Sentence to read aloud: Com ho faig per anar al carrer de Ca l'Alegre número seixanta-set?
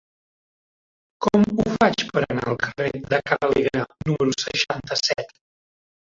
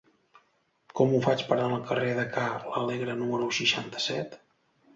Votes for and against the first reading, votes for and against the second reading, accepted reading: 0, 2, 2, 0, second